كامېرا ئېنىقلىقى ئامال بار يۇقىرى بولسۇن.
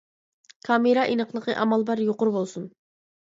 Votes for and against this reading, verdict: 2, 0, accepted